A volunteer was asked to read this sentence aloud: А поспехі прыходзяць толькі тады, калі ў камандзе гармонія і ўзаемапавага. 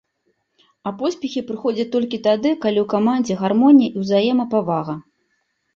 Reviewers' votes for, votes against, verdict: 2, 0, accepted